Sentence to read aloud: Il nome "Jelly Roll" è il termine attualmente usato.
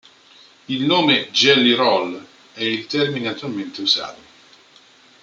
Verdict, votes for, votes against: accepted, 2, 1